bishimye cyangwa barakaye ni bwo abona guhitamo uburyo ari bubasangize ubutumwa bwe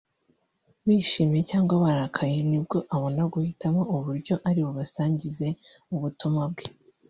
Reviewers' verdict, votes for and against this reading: rejected, 0, 2